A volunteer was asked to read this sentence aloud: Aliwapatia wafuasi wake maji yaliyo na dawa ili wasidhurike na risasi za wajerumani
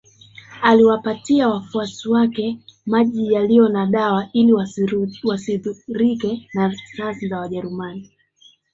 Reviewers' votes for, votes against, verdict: 2, 1, accepted